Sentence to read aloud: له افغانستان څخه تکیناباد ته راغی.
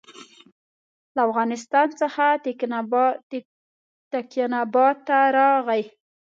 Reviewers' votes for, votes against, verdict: 0, 3, rejected